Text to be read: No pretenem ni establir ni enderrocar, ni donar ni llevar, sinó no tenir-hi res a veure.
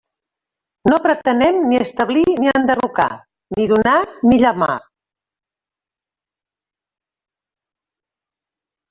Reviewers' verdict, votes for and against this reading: rejected, 0, 2